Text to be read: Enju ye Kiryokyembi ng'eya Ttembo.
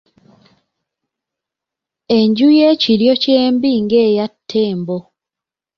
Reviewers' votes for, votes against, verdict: 2, 0, accepted